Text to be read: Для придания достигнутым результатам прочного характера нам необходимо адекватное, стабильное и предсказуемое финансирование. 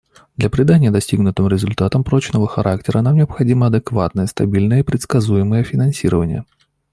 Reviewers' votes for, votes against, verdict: 2, 0, accepted